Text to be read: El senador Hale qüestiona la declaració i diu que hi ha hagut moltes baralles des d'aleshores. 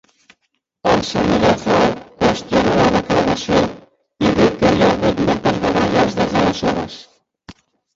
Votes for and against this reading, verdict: 0, 2, rejected